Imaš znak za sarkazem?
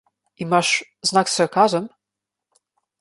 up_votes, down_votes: 1, 2